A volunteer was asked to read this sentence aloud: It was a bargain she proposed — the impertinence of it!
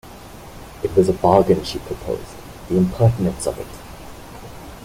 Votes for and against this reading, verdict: 0, 2, rejected